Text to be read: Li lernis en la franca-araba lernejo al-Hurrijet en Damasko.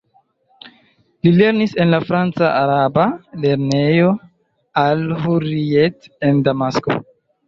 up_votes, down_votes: 2, 0